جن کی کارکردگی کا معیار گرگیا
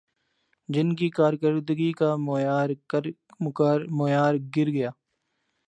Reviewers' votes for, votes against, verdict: 0, 2, rejected